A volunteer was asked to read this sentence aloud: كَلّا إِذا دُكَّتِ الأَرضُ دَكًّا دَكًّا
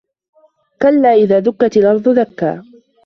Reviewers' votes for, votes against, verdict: 0, 2, rejected